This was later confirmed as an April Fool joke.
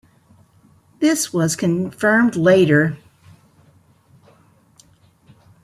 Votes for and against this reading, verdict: 1, 2, rejected